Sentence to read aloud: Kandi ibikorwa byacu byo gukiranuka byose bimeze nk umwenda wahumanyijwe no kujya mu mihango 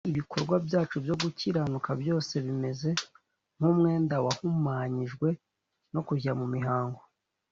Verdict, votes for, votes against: accepted, 2, 1